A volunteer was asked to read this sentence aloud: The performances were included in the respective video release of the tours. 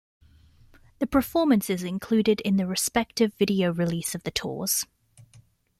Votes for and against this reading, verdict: 0, 2, rejected